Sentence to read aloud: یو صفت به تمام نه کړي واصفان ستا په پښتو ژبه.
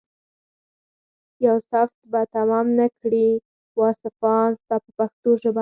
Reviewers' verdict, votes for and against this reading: rejected, 0, 4